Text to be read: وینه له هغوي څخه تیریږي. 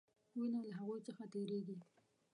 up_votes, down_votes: 1, 2